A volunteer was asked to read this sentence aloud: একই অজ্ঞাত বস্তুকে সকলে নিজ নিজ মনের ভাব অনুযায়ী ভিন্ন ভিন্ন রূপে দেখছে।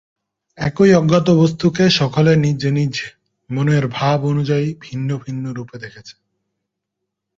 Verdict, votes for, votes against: rejected, 0, 2